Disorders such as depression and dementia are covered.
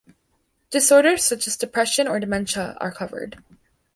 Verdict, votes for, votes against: rejected, 0, 2